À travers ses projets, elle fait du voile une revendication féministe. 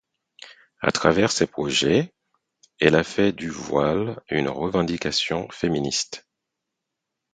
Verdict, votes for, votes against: rejected, 2, 4